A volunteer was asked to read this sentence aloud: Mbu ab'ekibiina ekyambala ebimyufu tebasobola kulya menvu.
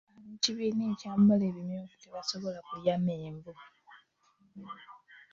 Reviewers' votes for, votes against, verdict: 1, 2, rejected